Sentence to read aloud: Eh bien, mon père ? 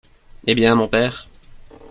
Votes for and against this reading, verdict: 2, 0, accepted